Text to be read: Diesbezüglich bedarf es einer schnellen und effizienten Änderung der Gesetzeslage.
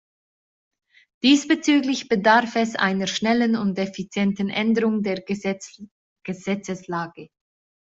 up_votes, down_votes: 1, 2